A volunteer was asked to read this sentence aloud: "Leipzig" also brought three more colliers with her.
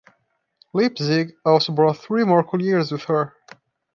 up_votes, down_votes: 0, 2